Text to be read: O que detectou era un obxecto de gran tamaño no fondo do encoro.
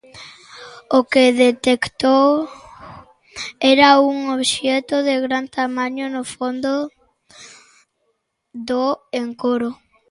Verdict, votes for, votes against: rejected, 0, 2